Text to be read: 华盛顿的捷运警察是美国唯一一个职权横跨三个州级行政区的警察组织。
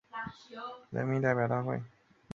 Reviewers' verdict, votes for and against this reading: rejected, 0, 2